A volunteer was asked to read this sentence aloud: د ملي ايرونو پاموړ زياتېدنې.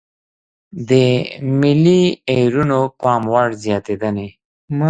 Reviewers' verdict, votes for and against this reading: accepted, 2, 0